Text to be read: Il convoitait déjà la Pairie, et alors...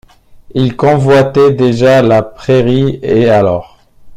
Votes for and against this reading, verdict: 1, 2, rejected